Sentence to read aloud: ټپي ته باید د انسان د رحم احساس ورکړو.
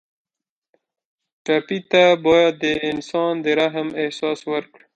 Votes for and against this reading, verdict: 2, 0, accepted